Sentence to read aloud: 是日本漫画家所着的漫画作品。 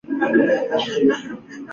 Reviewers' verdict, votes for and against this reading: rejected, 0, 2